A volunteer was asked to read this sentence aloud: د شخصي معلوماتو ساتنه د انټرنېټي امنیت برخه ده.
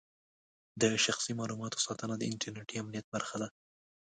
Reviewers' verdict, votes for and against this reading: accepted, 2, 0